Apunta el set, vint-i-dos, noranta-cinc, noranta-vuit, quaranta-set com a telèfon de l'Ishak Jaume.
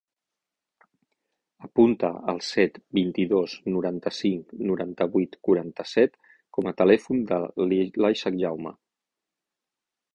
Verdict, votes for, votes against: rejected, 0, 6